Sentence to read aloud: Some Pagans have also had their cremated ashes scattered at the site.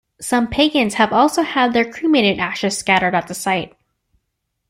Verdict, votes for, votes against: accepted, 2, 0